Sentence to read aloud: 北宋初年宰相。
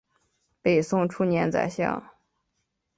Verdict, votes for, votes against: accepted, 3, 0